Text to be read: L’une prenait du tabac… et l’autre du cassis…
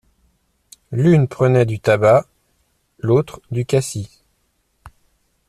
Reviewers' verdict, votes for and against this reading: accepted, 2, 1